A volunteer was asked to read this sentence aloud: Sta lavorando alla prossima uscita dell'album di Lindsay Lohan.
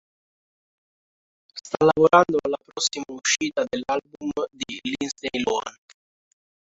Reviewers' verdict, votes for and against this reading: rejected, 0, 2